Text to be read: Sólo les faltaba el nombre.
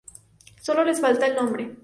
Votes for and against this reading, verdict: 0, 2, rejected